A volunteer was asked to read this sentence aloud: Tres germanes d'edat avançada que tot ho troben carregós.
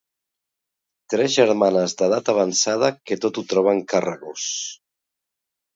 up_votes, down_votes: 2, 0